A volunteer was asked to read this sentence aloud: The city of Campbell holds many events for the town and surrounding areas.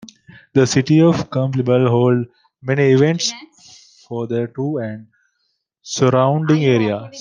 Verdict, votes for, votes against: rejected, 0, 2